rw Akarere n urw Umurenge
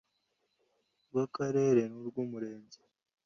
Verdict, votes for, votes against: accepted, 2, 0